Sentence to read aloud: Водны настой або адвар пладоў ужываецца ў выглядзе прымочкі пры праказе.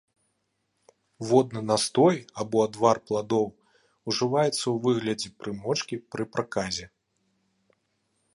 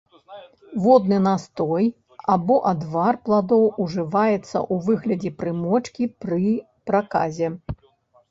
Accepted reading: first